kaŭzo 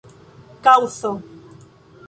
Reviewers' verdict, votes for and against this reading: rejected, 2, 3